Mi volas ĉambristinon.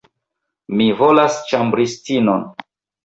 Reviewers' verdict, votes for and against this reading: accepted, 2, 0